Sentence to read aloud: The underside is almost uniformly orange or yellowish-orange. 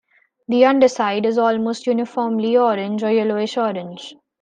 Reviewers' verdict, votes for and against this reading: accepted, 2, 0